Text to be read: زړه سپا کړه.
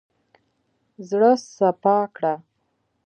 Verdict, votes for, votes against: accepted, 2, 1